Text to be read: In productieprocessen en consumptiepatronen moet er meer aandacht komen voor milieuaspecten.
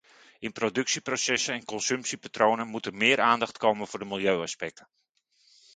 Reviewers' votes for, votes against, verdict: 1, 2, rejected